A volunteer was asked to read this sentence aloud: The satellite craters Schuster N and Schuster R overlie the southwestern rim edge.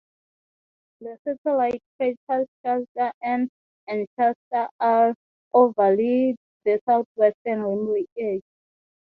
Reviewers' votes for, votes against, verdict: 0, 3, rejected